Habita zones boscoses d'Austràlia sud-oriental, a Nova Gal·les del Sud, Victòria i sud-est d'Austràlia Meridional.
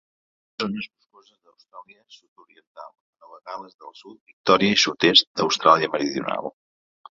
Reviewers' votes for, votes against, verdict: 0, 2, rejected